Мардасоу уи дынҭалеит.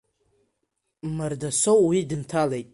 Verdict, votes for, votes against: accepted, 2, 1